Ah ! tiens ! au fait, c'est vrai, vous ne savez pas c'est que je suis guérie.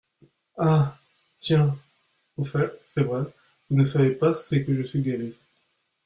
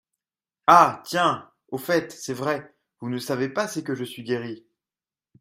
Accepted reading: second